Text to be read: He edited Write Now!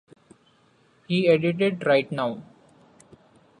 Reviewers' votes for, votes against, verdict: 2, 1, accepted